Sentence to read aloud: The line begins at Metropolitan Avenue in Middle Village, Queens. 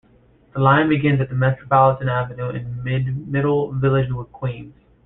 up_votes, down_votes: 0, 2